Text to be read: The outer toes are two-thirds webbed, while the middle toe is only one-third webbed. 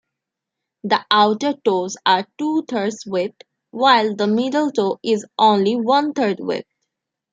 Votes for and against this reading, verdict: 2, 0, accepted